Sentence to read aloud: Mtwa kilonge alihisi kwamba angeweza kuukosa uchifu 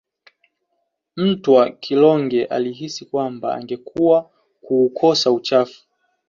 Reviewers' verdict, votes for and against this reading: rejected, 2, 3